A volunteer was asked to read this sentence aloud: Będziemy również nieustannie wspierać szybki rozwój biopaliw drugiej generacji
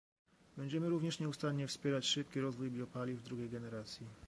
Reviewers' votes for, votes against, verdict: 1, 2, rejected